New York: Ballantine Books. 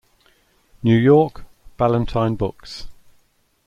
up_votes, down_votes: 2, 0